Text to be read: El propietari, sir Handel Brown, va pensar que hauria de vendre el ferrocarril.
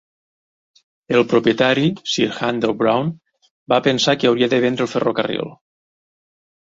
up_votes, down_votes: 2, 0